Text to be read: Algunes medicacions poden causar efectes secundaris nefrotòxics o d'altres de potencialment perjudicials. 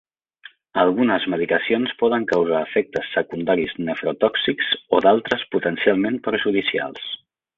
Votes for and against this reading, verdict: 1, 3, rejected